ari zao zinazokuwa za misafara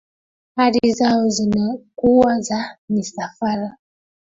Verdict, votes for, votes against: rejected, 0, 2